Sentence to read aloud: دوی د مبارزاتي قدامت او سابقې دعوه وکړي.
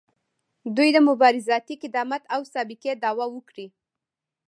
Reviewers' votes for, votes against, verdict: 0, 2, rejected